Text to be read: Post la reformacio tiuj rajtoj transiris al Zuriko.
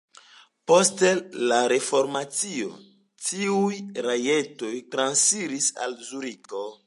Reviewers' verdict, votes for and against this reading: rejected, 1, 2